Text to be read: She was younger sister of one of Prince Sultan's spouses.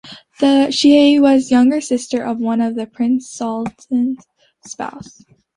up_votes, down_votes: 1, 2